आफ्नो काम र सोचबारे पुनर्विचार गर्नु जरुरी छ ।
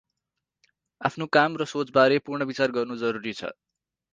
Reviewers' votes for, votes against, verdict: 2, 4, rejected